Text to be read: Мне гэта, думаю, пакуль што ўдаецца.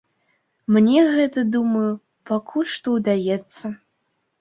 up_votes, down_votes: 2, 0